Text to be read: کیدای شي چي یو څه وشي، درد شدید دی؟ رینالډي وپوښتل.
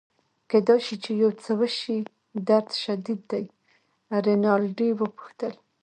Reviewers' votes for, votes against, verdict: 2, 0, accepted